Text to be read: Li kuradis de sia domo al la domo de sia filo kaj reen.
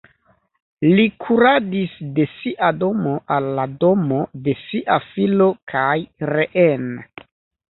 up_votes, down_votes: 2, 0